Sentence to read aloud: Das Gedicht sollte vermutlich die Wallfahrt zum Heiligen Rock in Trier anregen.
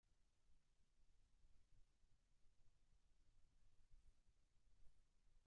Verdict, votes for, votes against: rejected, 0, 2